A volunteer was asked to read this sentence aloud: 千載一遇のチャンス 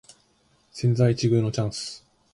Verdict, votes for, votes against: accepted, 2, 0